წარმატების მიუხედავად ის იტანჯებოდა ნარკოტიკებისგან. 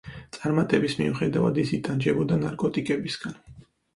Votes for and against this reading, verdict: 4, 0, accepted